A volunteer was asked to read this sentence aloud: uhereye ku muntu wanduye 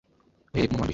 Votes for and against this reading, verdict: 0, 2, rejected